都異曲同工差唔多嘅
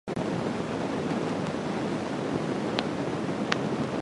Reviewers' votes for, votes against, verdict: 0, 2, rejected